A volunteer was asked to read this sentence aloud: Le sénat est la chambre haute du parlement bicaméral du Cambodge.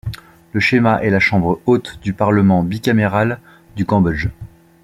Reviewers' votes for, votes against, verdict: 0, 2, rejected